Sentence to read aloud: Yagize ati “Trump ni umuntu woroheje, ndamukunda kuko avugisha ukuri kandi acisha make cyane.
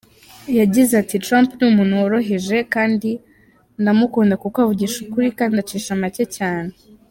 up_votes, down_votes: 1, 2